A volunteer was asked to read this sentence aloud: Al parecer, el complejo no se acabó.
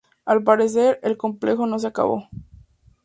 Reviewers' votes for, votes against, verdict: 2, 0, accepted